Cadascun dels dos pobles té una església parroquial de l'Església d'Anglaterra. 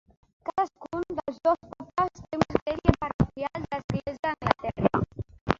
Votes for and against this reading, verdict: 0, 3, rejected